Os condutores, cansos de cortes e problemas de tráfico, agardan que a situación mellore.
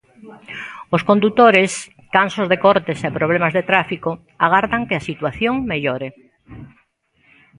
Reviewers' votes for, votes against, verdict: 2, 0, accepted